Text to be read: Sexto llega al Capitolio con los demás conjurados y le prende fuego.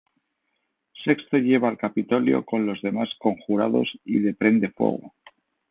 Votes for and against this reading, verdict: 1, 2, rejected